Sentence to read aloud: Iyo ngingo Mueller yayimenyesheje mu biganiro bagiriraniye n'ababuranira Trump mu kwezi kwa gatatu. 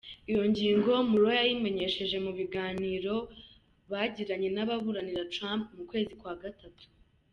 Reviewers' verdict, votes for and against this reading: accepted, 2, 1